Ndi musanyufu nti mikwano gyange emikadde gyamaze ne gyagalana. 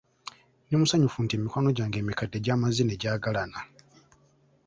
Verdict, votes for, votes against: accepted, 2, 0